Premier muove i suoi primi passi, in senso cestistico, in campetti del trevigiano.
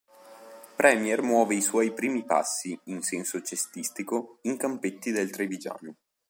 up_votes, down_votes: 1, 2